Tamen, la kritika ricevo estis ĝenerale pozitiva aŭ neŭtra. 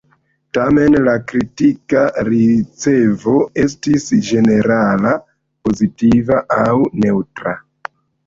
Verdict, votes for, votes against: rejected, 1, 2